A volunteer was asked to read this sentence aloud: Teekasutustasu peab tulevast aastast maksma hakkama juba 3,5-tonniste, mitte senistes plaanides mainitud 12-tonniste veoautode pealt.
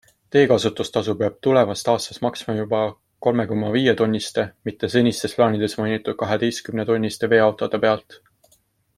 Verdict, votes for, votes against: rejected, 0, 2